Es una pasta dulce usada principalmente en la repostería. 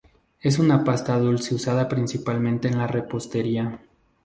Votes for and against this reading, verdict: 2, 0, accepted